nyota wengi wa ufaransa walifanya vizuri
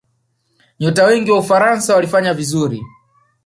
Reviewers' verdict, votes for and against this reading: accepted, 2, 0